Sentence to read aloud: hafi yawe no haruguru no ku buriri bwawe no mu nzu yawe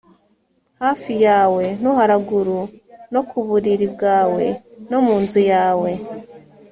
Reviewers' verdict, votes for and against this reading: rejected, 1, 2